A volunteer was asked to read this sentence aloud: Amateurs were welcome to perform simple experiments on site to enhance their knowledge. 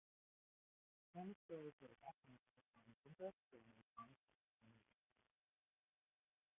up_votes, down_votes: 0, 2